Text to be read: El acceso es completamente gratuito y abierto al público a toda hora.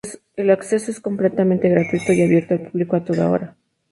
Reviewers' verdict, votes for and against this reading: accepted, 2, 0